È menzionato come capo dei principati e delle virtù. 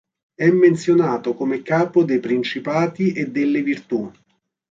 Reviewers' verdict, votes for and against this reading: accepted, 2, 0